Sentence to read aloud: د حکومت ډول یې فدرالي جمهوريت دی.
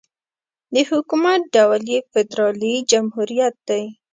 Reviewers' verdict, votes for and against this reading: accepted, 3, 0